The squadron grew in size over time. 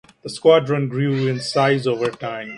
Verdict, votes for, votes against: accepted, 2, 0